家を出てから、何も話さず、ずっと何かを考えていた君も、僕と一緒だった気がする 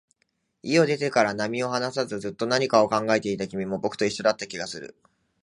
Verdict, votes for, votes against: rejected, 0, 2